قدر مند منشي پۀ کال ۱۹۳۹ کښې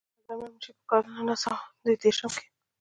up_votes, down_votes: 0, 2